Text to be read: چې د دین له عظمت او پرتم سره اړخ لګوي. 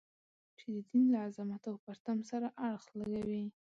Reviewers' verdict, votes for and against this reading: rejected, 1, 2